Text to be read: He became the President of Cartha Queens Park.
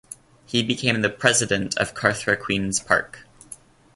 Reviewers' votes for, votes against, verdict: 2, 0, accepted